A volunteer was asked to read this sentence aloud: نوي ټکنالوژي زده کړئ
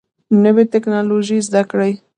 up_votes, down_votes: 0, 2